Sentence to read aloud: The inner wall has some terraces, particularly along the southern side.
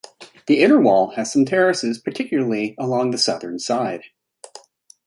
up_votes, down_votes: 2, 0